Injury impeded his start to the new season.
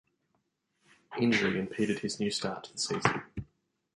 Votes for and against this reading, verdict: 1, 2, rejected